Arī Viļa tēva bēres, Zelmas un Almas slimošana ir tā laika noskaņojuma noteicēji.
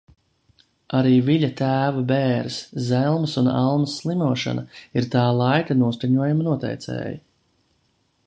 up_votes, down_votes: 2, 0